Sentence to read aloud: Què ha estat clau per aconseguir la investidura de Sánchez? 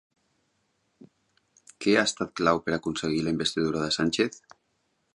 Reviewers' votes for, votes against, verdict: 4, 0, accepted